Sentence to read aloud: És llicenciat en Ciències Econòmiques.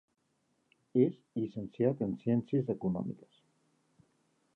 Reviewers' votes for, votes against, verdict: 2, 1, accepted